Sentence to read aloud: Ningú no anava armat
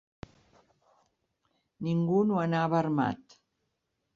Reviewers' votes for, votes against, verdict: 3, 0, accepted